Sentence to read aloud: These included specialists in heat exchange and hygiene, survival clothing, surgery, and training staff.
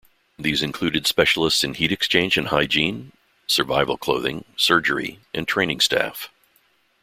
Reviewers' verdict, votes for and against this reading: accepted, 2, 0